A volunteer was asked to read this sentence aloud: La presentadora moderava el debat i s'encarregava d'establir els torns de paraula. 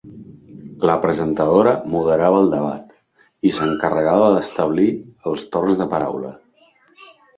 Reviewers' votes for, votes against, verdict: 0, 2, rejected